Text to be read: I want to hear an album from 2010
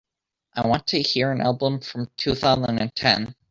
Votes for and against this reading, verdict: 0, 2, rejected